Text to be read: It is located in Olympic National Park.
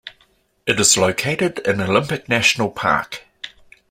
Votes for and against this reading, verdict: 2, 0, accepted